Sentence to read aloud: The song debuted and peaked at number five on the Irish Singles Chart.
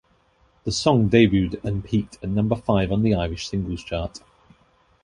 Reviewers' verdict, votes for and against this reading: accepted, 2, 0